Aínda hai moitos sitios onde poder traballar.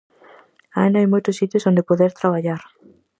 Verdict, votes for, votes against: accepted, 4, 0